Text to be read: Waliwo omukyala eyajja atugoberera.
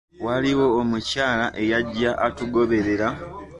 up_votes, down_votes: 1, 2